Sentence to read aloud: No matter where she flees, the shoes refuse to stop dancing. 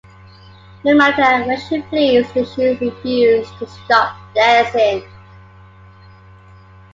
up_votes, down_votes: 0, 2